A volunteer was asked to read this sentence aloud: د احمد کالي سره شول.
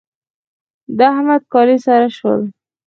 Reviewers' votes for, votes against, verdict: 2, 4, rejected